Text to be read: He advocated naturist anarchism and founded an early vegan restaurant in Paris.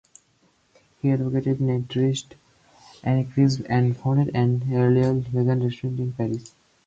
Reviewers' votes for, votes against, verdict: 0, 4, rejected